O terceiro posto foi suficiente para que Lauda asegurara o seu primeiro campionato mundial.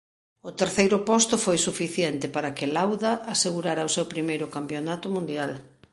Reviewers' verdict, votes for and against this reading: accepted, 2, 0